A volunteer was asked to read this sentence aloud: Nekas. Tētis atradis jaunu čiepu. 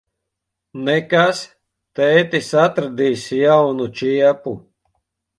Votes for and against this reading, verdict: 1, 2, rejected